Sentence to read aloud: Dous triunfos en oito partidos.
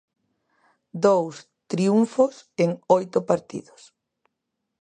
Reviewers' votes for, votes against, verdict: 2, 0, accepted